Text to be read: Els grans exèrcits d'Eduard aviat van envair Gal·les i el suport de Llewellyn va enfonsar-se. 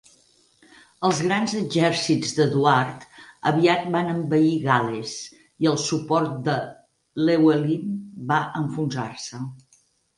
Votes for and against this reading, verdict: 2, 4, rejected